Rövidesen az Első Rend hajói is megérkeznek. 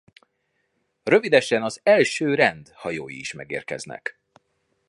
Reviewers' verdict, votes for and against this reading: accepted, 2, 1